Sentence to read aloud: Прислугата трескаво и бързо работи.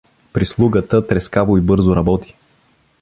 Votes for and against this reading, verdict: 0, 2, rejected